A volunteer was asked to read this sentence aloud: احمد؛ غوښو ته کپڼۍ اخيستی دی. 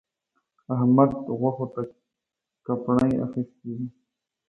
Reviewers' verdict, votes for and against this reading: rejected, 1, 2